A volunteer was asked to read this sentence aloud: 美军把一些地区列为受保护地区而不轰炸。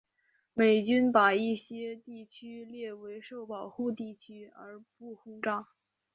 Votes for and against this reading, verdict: 5, 0, accepted